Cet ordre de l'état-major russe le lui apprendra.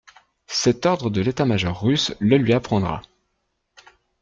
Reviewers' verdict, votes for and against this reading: accepted, 2, 0